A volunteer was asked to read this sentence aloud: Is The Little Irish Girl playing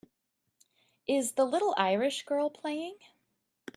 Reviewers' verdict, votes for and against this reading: accepted, 2, 0